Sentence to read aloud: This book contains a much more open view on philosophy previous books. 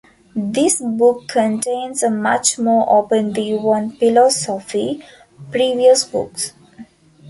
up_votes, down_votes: 2, 1